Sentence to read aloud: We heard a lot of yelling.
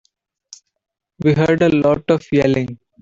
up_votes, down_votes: 2, 1